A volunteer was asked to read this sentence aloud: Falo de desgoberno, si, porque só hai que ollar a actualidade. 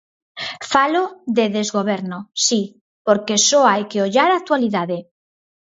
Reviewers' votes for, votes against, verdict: 4, 0, accepted